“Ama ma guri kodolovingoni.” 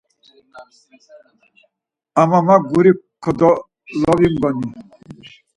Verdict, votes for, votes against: rejected, 2, 4